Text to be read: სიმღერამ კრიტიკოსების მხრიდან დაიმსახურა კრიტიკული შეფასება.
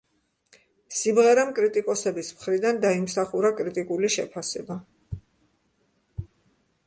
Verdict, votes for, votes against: accepted, 2, 0